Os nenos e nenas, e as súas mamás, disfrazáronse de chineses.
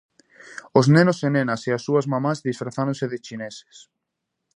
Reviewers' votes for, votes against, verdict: 2, 0, accepted